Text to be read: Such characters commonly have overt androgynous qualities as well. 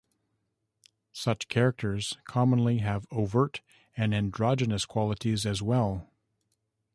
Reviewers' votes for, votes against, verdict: 1, 3, rejected